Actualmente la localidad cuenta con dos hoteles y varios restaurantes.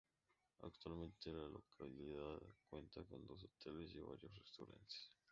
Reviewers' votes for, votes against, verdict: 0, 2, rejected